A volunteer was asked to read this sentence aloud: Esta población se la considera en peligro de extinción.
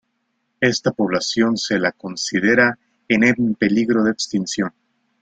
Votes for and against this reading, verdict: 0, 2, rejected